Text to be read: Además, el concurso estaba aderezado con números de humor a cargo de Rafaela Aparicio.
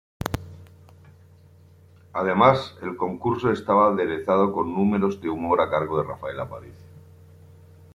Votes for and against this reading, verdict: 2, 0, accepted